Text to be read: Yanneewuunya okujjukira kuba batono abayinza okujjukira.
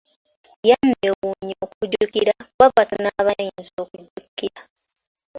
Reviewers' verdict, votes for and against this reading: accepted, 2, 1